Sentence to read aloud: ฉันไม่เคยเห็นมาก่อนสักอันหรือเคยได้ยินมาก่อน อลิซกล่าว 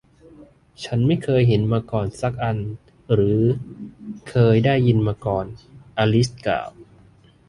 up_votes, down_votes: 1, 2